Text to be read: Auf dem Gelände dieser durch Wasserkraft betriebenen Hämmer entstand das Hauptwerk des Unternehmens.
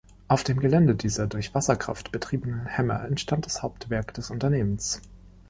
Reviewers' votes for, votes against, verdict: 3, 0, accepted